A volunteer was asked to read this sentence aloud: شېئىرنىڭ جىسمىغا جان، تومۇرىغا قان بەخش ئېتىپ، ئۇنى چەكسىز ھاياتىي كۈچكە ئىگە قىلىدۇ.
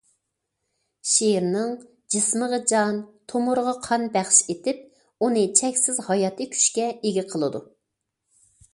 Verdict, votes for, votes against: accepted, 2, 0